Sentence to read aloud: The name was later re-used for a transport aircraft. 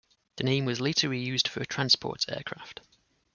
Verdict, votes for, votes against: accepted, 2, 0